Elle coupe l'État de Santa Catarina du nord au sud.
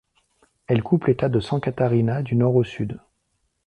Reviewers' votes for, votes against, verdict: 1, 2, rejected